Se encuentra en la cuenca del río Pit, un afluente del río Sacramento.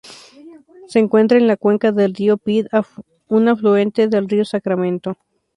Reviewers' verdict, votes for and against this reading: accepted, 2, 0